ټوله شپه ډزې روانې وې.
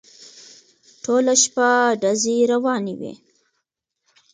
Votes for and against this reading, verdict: 2, 0, accepted